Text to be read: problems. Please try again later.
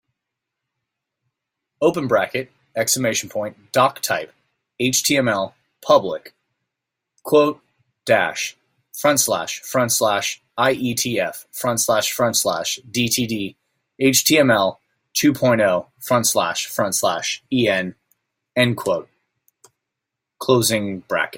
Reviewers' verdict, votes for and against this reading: rejected, 0, 2